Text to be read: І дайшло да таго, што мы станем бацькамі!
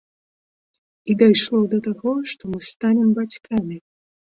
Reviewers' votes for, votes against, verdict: 2, 0, accepted